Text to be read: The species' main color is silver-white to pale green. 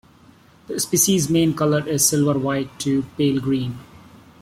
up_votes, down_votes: 2, 0